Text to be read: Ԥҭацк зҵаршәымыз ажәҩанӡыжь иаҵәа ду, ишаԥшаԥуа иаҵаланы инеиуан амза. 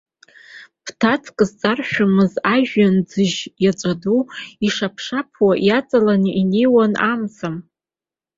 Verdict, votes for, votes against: accepted, 4, 0